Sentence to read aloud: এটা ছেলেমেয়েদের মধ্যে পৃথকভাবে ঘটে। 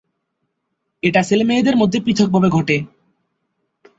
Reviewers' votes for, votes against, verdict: 1, 3, rejected